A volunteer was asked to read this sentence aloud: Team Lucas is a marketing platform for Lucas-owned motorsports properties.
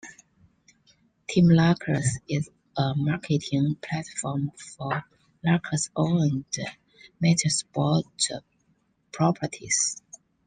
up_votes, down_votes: 1, 2